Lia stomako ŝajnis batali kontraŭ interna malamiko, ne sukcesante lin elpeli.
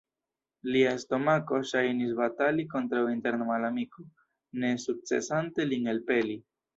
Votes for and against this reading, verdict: 2, 3, rejected